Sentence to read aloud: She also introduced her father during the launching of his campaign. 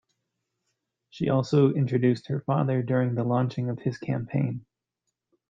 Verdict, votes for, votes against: accepted, 2, 0